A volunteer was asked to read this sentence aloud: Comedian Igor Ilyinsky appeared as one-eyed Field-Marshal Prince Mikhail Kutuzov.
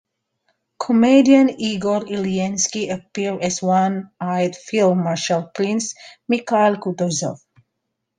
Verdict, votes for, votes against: accepted, 2, 1